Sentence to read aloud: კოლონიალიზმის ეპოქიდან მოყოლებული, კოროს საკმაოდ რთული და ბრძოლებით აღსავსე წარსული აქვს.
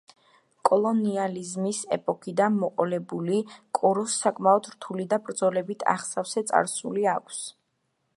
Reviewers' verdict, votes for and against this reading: accepted, 2, 0